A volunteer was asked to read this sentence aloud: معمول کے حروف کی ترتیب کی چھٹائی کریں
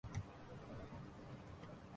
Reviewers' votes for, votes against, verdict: 3, 6, rejected